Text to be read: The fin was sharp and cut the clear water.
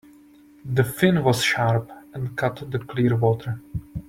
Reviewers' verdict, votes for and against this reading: accepted, 2, 0